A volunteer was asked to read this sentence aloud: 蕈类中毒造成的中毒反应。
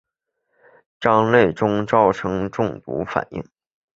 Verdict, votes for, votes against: rejected, 1, 2